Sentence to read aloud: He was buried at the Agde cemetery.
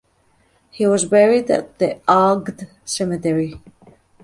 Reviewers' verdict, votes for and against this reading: accepted, 2, 0